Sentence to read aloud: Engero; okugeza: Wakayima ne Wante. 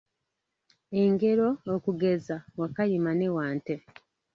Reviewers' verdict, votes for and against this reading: rejected, 1, 2